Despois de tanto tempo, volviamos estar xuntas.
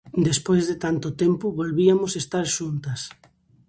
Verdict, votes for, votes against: rejected, 0, 2